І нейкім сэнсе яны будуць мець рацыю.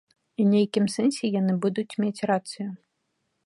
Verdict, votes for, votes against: accepted, 2, 0